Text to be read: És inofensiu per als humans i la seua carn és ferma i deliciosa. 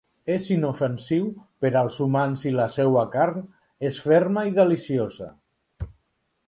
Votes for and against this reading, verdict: 2, 0, accepted